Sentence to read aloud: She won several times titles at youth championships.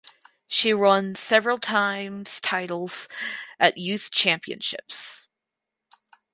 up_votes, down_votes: 2, 4